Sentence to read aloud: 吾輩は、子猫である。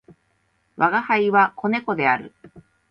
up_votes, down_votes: 2, 0